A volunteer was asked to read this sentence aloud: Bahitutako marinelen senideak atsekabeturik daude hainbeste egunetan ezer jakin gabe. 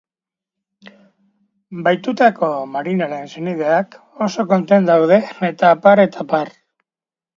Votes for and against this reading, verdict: 0, 4, rejected